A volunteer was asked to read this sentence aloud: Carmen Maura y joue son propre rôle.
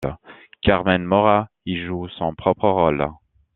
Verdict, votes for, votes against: accepted, 2, 0